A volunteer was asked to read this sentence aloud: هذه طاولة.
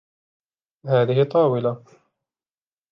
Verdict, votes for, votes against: accepted, 2, 0